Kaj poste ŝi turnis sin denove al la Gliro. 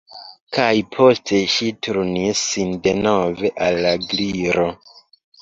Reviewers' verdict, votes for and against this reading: accepted, 2, 0